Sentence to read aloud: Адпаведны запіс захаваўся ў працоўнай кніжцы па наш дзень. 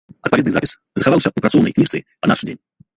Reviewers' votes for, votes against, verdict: 1, 2, rejected